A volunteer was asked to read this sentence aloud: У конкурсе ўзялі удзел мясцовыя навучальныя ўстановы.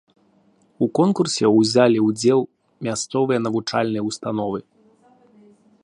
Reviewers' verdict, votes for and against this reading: rejected, 0, 2